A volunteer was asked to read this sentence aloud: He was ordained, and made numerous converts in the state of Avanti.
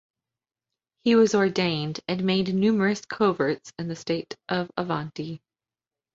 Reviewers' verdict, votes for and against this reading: rejected, 0, 2